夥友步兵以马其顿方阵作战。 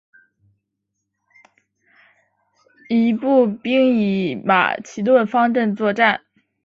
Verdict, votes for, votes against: accepted, 2, 1